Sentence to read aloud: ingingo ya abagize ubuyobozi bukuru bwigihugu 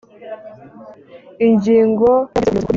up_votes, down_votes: 0, 2